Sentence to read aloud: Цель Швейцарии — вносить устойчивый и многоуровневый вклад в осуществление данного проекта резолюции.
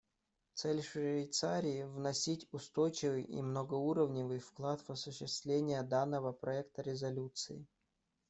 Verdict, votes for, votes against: rejected, 1, 2